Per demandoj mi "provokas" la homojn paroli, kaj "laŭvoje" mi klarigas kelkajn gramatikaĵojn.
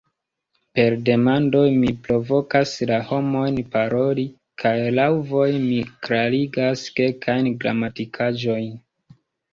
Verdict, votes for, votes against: rejected, 1, 2